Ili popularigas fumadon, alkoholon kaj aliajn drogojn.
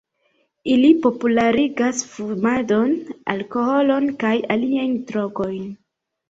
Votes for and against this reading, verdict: 2, 0, accepted